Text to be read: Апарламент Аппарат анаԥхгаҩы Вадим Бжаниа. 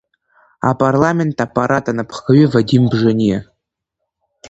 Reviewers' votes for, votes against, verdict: 1, 2, rejected